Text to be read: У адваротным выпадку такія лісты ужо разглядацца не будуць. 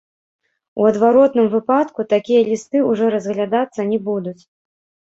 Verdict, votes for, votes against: rejected, 0, 2